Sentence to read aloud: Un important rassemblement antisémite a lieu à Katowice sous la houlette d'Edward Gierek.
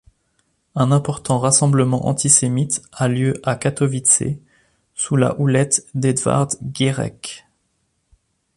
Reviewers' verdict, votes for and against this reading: accepted, 4, 0